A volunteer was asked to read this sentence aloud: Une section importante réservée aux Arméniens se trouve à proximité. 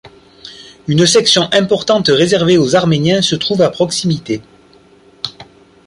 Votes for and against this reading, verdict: 2, 0, accepted